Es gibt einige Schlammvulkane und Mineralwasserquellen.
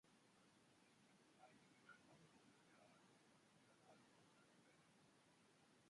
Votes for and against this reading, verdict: 0, 2, rejected